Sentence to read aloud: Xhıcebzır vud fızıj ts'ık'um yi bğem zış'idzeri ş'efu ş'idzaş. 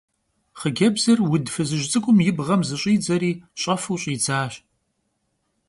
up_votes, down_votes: 2, 0